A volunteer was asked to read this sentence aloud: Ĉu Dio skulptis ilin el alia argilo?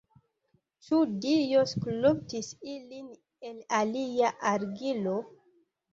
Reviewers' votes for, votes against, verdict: 1, 2, rejected